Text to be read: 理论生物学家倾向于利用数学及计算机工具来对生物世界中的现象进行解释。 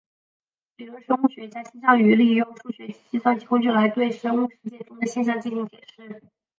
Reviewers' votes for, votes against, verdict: 0, 3, rejected